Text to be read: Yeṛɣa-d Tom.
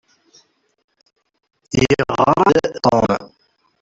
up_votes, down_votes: 0, 2